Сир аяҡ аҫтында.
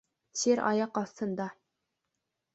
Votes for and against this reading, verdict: 3, 0, accepted